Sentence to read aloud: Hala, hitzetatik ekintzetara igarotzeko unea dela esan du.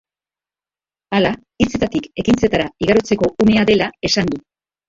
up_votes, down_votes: 0, 3